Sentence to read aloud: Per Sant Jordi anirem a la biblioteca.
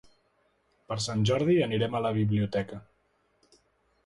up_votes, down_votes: 2, 0